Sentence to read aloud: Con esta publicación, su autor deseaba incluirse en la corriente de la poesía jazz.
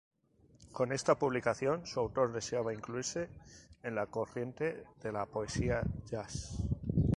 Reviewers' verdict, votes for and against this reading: accepted, 2, 0